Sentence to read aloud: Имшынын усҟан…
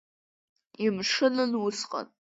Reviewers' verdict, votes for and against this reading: rejected, 1, 2